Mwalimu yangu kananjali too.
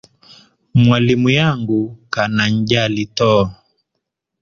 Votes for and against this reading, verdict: 2, 0, accepted